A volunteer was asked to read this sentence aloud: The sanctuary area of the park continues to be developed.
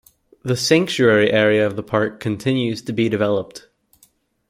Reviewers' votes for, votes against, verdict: 2, 0, accepted